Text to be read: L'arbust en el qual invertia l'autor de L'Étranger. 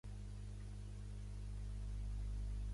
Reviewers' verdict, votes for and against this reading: rejected, 0, 2